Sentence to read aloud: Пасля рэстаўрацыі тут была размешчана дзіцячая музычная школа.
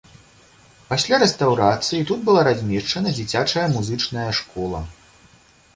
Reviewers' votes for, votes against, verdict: 2, 0, accepted